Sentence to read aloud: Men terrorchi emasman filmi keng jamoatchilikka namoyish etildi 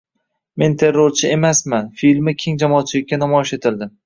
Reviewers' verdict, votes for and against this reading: accepted, 2, 1